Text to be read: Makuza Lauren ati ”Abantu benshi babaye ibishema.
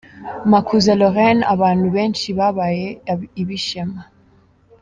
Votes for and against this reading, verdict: 0, 3, rejected